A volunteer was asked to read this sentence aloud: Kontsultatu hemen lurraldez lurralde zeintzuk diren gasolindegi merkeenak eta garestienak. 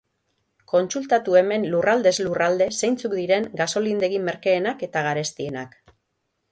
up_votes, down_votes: 6, 0